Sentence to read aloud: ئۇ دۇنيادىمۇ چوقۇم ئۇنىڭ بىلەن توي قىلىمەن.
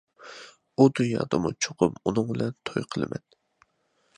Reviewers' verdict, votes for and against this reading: accepted, 2, 0